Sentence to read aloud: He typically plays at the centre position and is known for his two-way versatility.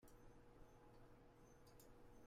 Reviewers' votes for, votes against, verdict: 0, 2, rejected